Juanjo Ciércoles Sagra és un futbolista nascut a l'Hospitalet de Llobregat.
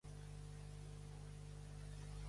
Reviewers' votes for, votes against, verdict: 0, 2, rejected